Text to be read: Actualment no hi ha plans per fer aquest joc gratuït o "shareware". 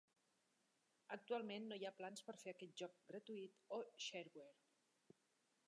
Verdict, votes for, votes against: accepted, 2, 1